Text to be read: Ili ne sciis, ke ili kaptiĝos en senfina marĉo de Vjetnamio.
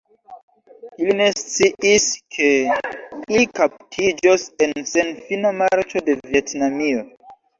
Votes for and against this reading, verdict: 0, 2, rejected